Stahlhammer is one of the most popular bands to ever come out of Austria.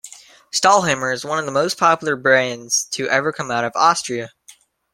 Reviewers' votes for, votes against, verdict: 1, 2, rejected